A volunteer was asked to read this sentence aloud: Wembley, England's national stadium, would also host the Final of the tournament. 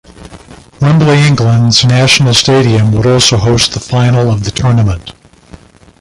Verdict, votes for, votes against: accepted, 2, 1